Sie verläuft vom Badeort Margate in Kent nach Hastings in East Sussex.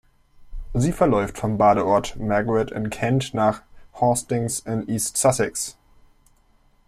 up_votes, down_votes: 1, 2